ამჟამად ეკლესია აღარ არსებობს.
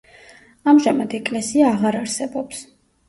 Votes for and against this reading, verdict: 2, 0, accepted